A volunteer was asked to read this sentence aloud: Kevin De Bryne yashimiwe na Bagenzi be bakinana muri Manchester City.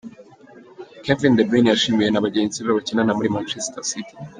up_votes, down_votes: 2, 0